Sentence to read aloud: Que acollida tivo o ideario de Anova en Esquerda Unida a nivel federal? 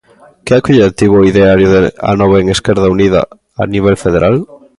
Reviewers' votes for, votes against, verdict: 2, 0, accepted